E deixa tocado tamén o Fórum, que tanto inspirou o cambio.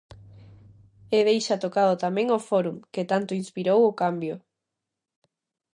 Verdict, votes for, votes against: accepted, 2, 0